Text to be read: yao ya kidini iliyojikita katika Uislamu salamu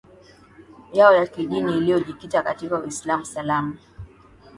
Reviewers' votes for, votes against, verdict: 1, 2, rejected